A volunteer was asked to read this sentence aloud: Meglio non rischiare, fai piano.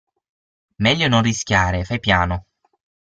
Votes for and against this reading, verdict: 6, 0, accepted